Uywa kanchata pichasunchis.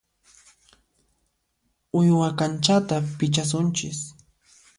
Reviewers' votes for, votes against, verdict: 2, 0, accepted